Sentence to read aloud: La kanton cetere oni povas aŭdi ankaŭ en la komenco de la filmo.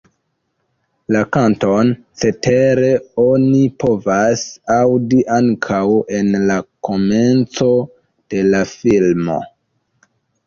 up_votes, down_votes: 1, 2